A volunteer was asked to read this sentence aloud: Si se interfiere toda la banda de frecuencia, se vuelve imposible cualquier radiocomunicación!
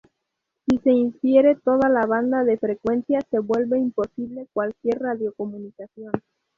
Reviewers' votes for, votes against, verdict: 0, 2, rejected